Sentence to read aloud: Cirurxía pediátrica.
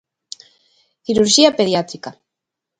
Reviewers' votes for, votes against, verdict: 2, 0, accepted